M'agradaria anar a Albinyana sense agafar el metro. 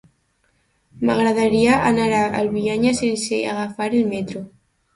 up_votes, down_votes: 0, 2